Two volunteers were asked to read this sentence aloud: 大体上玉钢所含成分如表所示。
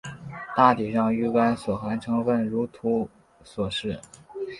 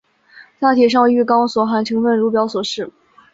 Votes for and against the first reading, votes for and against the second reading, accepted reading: 8, 0, 1, 2, first